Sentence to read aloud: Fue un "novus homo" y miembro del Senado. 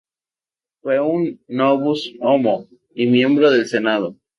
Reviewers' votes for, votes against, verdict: 0, 2, rejected